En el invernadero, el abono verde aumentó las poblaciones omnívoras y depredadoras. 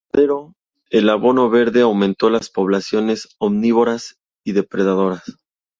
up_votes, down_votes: 0, 2